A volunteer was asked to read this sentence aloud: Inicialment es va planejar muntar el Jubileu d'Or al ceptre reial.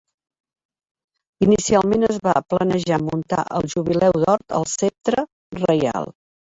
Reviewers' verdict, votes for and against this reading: rejected, 1, 2